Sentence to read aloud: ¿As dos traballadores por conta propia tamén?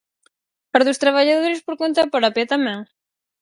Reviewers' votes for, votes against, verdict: 4, 2, accepted